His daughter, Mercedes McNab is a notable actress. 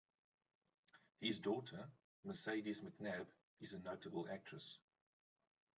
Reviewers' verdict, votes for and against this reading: accepted, 2, 0